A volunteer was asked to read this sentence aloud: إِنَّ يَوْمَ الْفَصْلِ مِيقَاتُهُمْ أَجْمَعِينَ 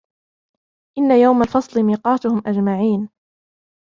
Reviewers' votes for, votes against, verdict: 2, 0, accepted